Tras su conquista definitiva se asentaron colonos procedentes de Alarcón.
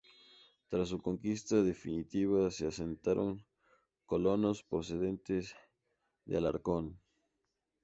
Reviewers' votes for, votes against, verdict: 2, 0, accepted